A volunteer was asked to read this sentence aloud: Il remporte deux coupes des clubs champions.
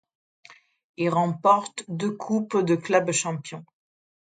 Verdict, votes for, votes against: rejected, 1, 2